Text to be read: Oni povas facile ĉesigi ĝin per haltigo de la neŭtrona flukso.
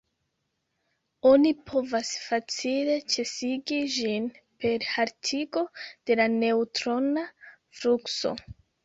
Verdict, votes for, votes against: rejected, 1, 2